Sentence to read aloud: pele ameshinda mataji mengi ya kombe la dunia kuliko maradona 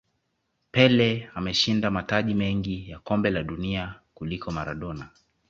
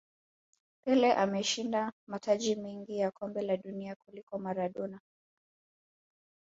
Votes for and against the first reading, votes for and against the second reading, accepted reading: 2, 0, 1, 2, first